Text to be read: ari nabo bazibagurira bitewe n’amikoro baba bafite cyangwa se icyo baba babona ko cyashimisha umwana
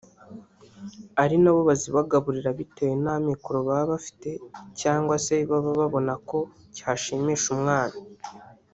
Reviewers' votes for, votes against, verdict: 0, 3, rejected